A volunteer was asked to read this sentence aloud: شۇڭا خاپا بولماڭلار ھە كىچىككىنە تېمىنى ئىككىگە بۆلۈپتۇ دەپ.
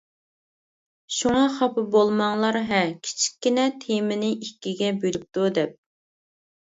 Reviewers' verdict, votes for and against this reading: accepted, 2, 0